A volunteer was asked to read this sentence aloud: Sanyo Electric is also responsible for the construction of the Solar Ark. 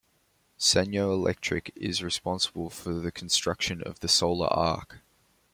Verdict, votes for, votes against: rejected, 1, 2